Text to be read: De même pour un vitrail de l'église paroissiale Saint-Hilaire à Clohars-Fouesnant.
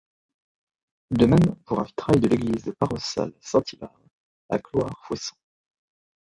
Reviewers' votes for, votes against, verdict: 1, 2, rejected